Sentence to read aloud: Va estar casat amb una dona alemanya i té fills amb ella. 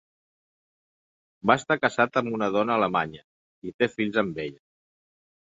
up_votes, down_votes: 1, 2